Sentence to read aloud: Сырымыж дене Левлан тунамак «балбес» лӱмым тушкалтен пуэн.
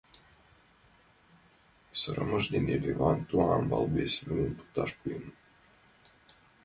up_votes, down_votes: 0, 2